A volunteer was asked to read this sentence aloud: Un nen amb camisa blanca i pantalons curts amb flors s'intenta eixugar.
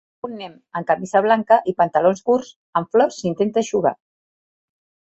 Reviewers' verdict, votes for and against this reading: accepted, 2, 0